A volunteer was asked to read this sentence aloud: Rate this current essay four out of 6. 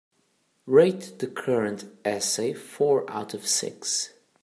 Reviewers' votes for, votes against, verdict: 0, 2, rejected